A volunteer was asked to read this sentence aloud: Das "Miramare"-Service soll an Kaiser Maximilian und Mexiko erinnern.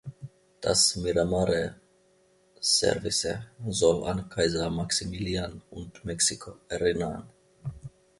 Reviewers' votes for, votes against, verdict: 0, 2, rejected